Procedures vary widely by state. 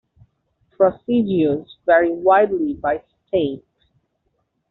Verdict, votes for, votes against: rejected, 1, 2